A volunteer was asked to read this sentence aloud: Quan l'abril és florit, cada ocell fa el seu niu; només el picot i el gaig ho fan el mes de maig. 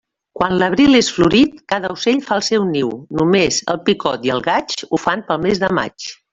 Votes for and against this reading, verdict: 0, 2, rejected